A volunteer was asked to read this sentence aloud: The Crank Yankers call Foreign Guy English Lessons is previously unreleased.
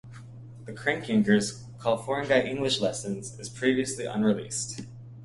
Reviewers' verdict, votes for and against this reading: rejected, 1, 2